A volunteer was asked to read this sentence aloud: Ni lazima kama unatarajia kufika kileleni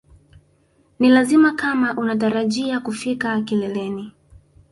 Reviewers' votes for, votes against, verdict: 2, 0, accepted